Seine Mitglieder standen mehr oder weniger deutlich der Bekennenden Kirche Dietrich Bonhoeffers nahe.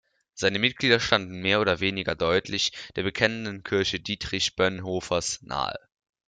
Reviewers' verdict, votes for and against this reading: rejected, 0, 2